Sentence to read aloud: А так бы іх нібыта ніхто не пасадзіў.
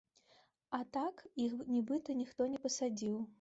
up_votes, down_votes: 0, 2